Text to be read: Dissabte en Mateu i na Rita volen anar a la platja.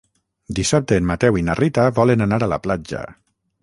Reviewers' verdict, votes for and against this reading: rejected, 0, 3